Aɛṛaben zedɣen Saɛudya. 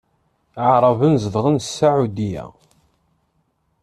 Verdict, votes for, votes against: accepted, 2, 0